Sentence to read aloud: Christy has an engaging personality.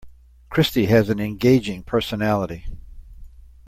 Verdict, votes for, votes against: accepted, 2, 0